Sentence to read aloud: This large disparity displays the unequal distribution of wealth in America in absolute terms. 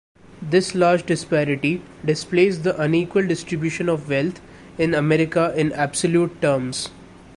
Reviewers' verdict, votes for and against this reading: rejected, 1, 2